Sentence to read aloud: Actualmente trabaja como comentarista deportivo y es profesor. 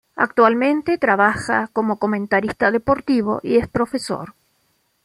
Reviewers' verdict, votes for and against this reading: accepted, 2, 0